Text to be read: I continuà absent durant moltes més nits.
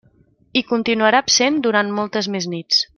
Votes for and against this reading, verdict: 0, 2, rejected